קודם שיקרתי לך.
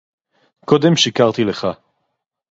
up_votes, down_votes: 4, 0